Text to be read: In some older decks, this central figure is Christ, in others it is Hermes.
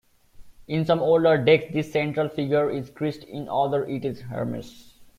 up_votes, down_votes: 1, 2